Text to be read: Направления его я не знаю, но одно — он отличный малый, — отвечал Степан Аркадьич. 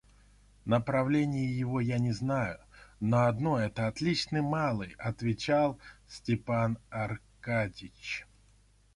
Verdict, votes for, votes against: rejected, 1, 2